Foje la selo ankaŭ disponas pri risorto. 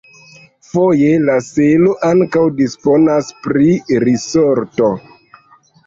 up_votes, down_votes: 1, 2